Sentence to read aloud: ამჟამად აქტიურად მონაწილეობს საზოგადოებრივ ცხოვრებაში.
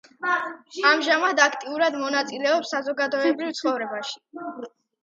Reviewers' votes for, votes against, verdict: 2, 0, accepted